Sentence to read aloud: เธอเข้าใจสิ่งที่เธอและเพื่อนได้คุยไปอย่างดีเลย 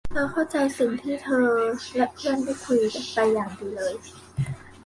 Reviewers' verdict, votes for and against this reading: rejected, 1, 2